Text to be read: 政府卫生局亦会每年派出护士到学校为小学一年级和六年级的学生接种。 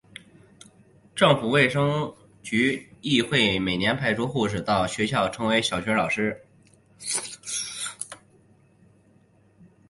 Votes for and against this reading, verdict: 1, 2, rejected